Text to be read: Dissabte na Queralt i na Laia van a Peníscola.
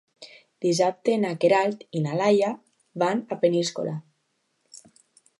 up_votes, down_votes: 2, 0